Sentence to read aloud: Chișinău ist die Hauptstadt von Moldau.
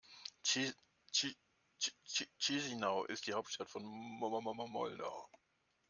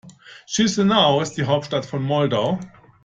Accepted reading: second